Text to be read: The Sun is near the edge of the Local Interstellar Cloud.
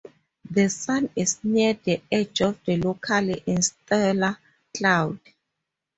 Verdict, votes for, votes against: rejected, 2, 2